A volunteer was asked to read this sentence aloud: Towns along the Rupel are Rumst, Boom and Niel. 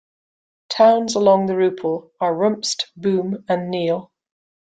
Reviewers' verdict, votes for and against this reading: accepted, 2, 1